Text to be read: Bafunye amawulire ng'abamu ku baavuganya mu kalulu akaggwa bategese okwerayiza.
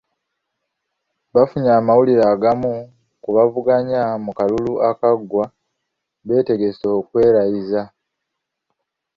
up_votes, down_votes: 1, 2